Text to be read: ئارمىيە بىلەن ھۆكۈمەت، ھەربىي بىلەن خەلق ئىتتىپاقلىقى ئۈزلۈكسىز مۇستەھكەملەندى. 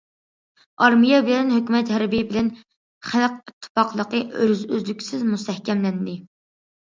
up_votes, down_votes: 2, 1